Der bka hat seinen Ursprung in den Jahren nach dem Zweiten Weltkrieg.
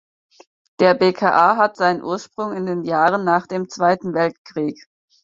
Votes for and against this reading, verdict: 4, 0, accepted